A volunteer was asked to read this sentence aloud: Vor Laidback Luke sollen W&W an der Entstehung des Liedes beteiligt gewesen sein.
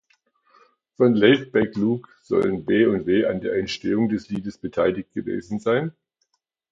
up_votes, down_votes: 1, 2